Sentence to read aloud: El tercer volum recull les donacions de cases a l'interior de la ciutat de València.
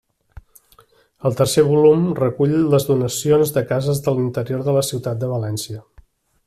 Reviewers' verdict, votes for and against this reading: rejected, 0, 2